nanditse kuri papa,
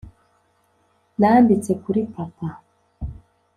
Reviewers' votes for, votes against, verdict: 2, 1, accepted